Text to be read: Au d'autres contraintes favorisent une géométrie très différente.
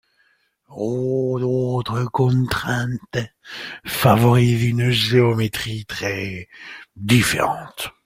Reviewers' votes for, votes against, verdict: 2, 0, accepted